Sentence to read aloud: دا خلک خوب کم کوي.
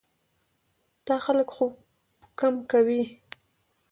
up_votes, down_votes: 2, 0